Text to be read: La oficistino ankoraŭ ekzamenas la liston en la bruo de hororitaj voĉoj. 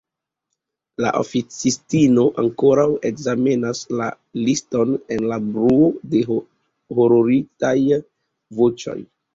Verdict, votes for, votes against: accepted, 2, 1